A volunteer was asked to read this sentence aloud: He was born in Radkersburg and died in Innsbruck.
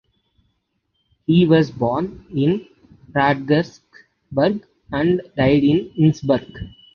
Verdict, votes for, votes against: rejected, 1, 2